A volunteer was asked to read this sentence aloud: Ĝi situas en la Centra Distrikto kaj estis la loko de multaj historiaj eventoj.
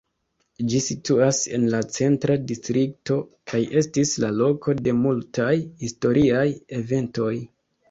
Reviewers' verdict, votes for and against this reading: accepted, 2, 1